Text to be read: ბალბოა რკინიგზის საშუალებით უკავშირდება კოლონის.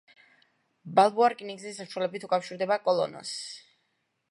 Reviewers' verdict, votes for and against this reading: rejected, 1, 2